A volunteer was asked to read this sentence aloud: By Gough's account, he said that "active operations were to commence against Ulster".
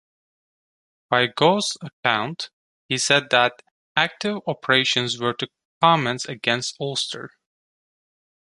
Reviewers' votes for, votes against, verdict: 2, 1, accepted